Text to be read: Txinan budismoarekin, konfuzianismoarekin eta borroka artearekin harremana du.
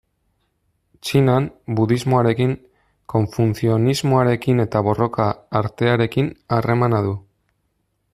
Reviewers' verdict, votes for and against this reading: rejected, 0, 2